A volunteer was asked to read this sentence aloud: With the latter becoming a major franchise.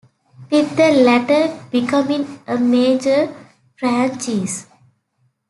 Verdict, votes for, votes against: rejected, 2, 3